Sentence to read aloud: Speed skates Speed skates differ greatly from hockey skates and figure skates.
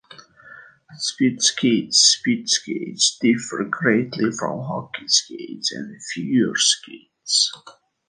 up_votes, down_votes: 2, 0